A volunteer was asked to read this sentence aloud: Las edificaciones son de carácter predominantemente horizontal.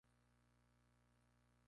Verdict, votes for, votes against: rejected, 0, 2